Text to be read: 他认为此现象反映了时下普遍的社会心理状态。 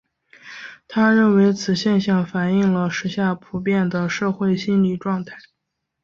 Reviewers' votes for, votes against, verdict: 2, 0, accepted